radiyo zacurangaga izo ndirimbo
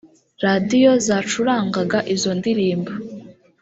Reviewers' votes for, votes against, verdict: 1, 2, rejected